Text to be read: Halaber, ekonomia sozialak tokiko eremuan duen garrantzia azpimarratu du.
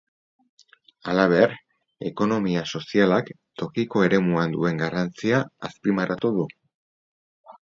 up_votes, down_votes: 2, 2